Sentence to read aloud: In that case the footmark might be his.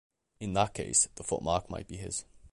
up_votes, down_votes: 2, 1